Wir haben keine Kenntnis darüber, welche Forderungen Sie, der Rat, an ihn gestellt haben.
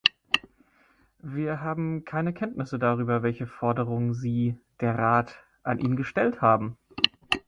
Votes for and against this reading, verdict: 0, 2, rejected